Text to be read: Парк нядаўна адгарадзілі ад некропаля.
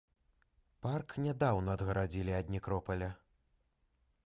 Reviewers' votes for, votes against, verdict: 2, 0, accepted